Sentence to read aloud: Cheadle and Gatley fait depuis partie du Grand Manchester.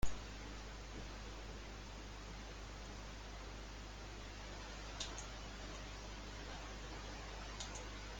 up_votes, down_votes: 0, 2